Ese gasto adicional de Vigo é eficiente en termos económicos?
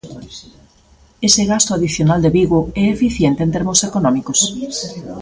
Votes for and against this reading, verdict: 1, 2, rejected